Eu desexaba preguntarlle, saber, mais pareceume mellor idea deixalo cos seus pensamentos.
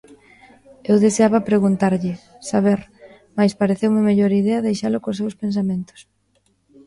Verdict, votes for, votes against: rejected, 0, 2